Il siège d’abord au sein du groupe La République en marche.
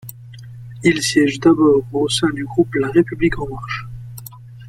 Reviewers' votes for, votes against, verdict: 2, 1, accepted